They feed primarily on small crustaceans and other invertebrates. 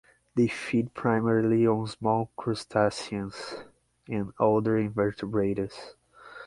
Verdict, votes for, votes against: accepted, 6, 0